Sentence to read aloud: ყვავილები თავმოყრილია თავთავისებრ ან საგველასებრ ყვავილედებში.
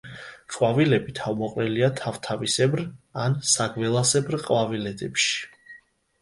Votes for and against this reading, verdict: 2, 0, accepted